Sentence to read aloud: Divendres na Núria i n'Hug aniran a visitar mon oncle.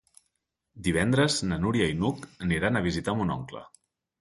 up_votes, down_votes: 3, 0